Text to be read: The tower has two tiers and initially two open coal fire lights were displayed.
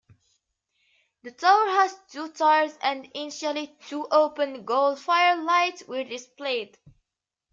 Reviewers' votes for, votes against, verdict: 0, 2, rejected